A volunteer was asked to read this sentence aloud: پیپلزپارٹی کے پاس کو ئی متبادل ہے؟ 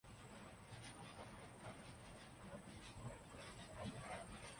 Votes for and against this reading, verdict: 0, 2, rejected